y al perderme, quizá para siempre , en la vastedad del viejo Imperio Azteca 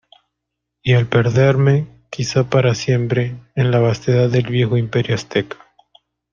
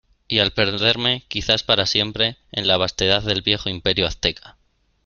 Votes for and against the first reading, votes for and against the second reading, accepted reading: 2, 0, 0, 2, first